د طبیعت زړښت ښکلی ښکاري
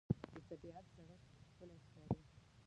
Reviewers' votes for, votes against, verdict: 1, 2, rejected